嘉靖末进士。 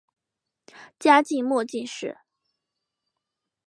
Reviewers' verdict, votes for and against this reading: accepted, 2, 0